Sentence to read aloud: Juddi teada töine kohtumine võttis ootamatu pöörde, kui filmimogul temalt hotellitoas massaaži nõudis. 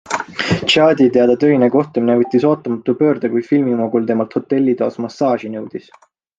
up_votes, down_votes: 3, 0